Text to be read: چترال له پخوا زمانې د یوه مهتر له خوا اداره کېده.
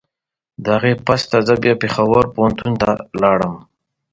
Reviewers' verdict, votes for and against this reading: rejected, 1, 2